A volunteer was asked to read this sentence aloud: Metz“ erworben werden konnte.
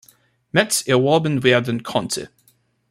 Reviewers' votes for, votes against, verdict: 2, 0, accepted